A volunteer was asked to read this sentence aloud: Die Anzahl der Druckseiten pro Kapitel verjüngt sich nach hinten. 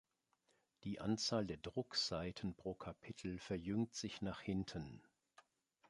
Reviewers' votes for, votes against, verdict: 2, 0, accepted